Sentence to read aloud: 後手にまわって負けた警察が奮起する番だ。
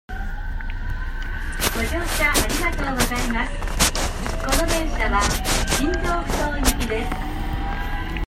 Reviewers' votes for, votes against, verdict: 0, 2, rejected